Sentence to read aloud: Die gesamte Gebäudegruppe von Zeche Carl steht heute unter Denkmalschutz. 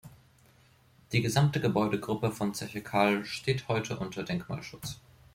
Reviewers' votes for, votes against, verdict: 2, 0, accepted